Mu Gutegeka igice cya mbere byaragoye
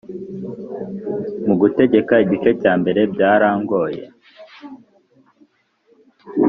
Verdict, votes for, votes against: rejected, 0, 2